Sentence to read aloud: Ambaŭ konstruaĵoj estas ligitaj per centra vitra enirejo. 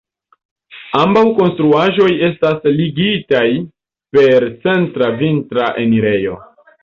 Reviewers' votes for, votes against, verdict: 2, 1, accepted